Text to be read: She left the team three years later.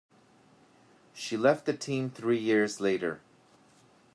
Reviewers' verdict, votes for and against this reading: accepted, 2, 0